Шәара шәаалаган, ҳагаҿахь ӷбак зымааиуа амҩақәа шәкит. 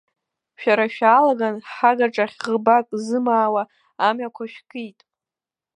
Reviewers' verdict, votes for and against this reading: accepted, 2, 0